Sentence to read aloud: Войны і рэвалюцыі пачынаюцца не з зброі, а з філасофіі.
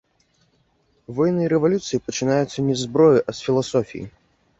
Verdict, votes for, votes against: rejected, 0, 2